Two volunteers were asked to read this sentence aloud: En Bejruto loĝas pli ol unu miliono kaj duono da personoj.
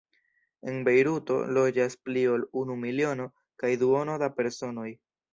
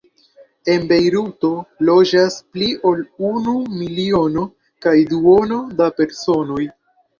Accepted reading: first